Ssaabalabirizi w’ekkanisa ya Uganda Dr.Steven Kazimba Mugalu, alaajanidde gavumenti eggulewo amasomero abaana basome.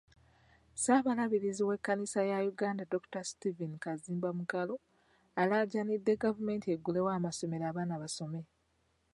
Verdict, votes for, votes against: accepted, 2, 0